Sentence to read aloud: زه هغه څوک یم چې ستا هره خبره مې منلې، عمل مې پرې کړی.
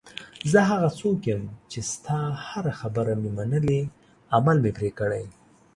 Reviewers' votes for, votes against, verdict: 2, 0, accepted